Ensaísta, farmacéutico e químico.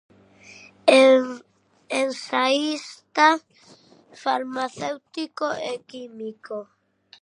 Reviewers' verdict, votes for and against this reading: rejected, 0, 2